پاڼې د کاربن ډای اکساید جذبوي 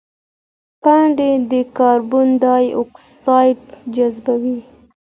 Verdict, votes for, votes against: accepted, 2, 0